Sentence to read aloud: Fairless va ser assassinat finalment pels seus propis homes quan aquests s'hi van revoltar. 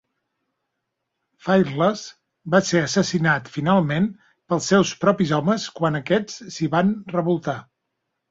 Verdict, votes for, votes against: rejected, 0, 2